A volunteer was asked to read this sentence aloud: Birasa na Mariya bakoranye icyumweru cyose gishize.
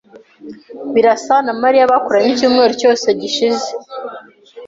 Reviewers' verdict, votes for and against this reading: accepted, 3, 0